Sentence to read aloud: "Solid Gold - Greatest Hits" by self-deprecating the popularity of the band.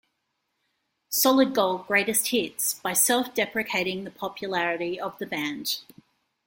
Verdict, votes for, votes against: accepted, 2, 0